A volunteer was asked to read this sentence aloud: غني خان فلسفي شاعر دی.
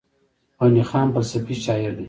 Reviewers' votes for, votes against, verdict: 1, 2, rejected